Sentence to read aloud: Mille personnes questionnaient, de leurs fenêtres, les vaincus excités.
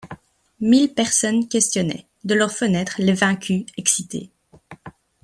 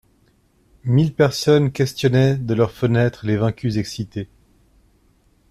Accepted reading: second